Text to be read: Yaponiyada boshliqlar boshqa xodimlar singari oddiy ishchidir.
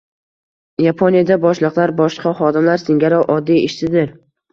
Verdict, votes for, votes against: accepted, 2, 0